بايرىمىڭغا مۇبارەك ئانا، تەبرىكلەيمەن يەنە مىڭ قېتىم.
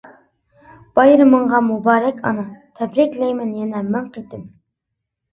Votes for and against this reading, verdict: 2, 0, accepted